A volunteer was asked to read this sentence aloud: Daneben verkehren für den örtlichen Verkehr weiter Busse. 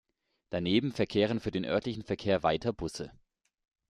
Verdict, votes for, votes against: accepted, 2, 0